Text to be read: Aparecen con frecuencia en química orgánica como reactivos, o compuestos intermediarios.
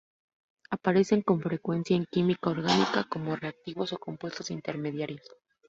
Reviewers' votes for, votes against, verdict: 2, 0, accepted